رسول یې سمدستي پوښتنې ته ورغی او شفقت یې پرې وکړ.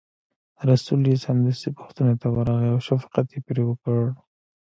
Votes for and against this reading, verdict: 1, 2, rejected